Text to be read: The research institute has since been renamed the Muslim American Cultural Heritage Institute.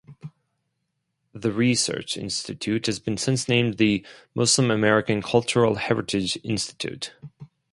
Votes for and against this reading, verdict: 2, 2, rejected